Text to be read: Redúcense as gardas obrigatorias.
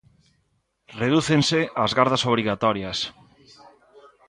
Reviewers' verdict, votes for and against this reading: accepted, 2, 0